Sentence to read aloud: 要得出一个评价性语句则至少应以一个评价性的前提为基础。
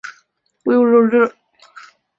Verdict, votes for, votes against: rejected, 0, 2